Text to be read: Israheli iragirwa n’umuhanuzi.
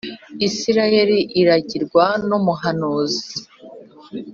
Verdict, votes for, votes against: accepted, 2, 0